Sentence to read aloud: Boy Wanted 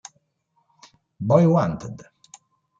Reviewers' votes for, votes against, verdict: 1, 2, rejected